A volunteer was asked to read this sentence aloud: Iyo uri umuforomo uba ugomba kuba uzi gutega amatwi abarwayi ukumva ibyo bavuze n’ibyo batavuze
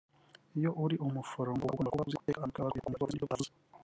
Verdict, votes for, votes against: rejected, 0, 2